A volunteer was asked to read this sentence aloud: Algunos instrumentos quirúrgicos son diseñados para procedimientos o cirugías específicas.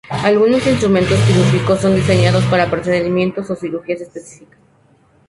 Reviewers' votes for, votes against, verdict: 2, 0, accepted